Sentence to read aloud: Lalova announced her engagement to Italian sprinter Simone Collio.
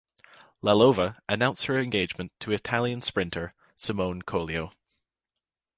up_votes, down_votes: 2, 0